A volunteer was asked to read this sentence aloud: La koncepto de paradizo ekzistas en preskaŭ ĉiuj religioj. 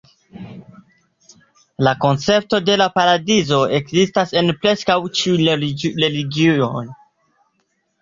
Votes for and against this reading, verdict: 0, 2, rejected